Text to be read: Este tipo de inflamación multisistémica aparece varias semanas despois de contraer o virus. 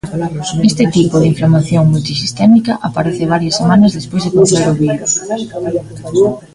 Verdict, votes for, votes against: rejected, 0, 2